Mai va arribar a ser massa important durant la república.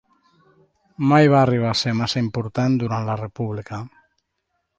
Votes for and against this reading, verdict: 2, 0, accepted